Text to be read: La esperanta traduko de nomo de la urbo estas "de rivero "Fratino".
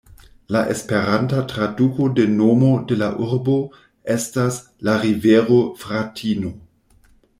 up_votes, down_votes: 1, 2